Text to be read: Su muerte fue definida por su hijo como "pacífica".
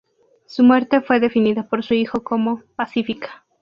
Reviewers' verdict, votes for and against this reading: accepted, 2, 0